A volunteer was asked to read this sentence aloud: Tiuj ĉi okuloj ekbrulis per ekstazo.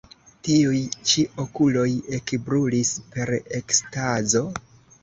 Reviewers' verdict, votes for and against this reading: rejected, 0, 2